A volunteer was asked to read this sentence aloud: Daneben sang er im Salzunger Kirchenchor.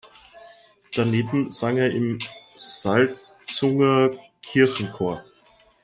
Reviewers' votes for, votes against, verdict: 2, 3, rejected